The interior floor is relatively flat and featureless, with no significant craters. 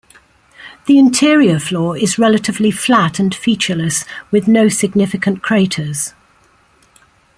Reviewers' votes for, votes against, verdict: 2, 0, accepted